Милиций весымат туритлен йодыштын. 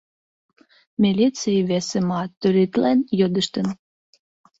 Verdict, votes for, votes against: rejected, 1, 2